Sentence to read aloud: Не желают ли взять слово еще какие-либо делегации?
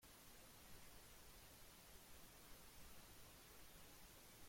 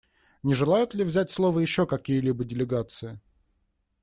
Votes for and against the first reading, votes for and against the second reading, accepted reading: 0, 2, 2, 0, second